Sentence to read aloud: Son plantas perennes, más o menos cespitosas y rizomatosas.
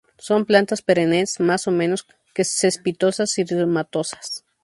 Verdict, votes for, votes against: accepted, 2, 0